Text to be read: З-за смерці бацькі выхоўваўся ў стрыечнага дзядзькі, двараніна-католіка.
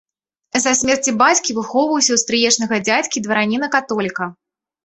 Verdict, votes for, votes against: accepted, 2, 0